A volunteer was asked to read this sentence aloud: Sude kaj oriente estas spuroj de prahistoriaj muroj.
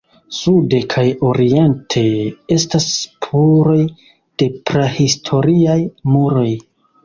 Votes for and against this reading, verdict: 1, 2, rejected